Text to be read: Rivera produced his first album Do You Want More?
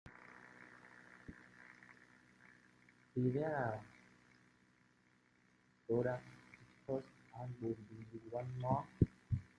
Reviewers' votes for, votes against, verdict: 0, 2, rejected